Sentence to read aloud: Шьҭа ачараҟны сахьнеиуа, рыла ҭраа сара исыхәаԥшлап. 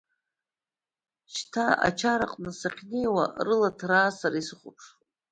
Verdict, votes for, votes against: accepted, 2, 0